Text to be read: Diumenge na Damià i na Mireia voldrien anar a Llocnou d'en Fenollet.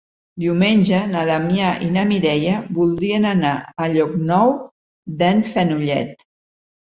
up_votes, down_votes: 4, 0